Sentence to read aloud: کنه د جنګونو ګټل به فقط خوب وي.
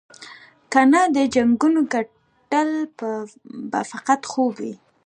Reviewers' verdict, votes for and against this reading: rejected, 0, 2